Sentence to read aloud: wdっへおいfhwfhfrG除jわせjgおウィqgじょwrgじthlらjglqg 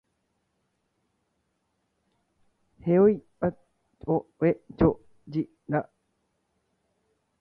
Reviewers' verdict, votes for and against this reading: rejected, 1, 2